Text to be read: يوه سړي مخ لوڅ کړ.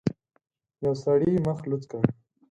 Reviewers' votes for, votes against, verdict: 4, 0, accepted